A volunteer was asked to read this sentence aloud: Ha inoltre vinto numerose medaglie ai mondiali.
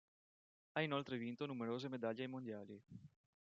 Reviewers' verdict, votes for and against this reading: accepted, 2, 0